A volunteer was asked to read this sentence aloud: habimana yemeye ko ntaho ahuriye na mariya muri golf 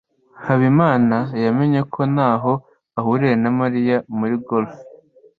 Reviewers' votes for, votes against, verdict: 2, 0, accepted